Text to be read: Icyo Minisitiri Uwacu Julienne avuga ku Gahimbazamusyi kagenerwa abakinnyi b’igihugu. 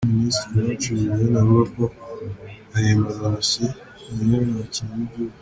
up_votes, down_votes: 2, 3